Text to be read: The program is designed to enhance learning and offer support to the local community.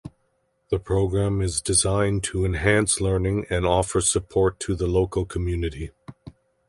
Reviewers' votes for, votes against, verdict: 2, 0, accepted